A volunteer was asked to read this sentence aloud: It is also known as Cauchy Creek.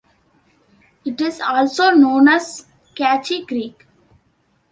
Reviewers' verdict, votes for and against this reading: accepted, 2, 1